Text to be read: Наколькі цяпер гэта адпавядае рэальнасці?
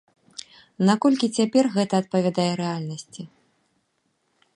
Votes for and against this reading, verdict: 2, 0, accepted